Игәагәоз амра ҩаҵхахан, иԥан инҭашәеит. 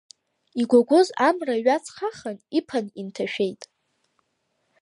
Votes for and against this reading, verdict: 2, 0, accepted